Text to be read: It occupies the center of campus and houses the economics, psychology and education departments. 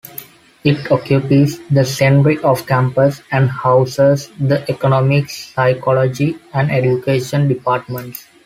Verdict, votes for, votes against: rejected, 0, 2